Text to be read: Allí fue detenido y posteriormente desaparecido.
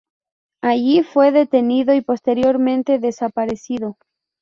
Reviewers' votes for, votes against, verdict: 4, 0, accepted